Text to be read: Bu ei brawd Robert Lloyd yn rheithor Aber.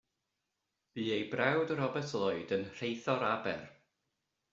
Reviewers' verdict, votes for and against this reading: accepted, 2, 0